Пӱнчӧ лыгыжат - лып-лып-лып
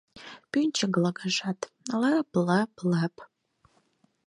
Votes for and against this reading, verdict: 2, 4, rejected